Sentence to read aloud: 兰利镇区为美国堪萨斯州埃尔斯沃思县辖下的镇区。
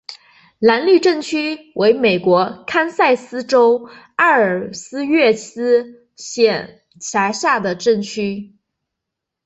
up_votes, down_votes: 2, 1